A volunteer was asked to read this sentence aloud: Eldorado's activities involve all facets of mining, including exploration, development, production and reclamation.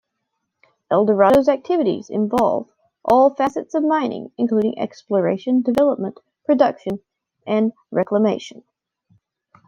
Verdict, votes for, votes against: rejected, 1, 2